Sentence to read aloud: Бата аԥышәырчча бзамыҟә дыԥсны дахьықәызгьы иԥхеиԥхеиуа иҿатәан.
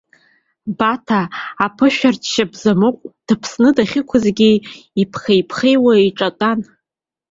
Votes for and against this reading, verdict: 2, 0, accepted